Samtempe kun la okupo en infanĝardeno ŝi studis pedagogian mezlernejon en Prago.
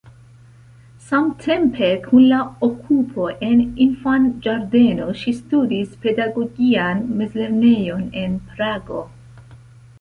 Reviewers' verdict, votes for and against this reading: accepted, 2, 0